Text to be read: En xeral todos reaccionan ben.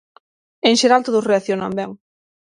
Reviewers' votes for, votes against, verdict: 9, 0, accepted